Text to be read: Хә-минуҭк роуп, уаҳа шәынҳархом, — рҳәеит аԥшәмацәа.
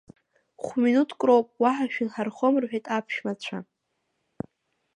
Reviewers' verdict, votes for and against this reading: rejected, 1, 2